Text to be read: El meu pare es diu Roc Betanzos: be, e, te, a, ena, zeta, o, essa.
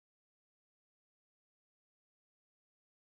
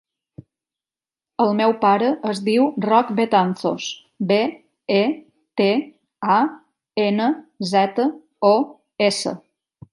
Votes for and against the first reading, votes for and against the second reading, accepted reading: 0, 2, 3, 0, second